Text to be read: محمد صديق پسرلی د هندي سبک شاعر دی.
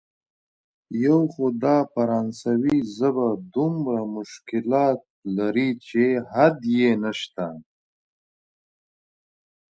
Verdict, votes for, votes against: rejected, 0, 2